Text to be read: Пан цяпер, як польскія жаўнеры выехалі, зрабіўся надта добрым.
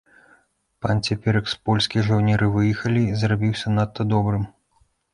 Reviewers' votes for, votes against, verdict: 0, 2, rejected